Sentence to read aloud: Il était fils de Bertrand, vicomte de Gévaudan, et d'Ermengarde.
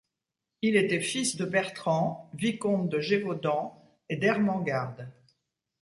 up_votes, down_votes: 2, 0